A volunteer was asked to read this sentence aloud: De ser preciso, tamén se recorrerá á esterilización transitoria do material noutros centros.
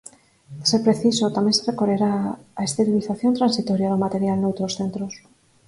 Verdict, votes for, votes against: rejected, 4, 6